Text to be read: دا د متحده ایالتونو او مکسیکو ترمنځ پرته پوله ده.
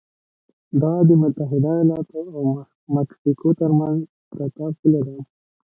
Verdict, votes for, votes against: rejected, 0, 2